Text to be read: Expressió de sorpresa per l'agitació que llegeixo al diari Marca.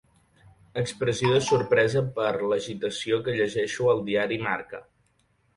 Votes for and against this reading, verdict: 4, 1, accepted